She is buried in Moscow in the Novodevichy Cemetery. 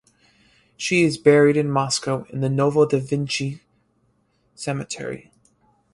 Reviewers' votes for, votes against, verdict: 2, 4, rejected